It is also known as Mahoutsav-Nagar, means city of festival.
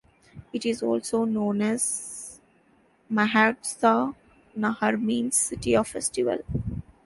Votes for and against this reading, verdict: 2, 1, accepted